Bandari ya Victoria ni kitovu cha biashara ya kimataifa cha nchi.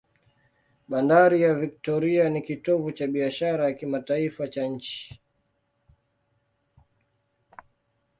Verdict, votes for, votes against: accepted, 2, 0